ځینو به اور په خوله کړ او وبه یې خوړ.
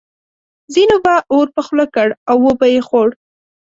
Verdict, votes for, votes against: accepted, 2, 0